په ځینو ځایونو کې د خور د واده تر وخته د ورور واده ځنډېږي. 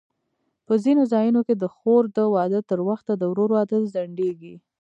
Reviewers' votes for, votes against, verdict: 1, 2, rejected